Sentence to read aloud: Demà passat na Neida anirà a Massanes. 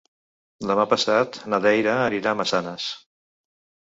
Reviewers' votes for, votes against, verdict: 1, 2, rejected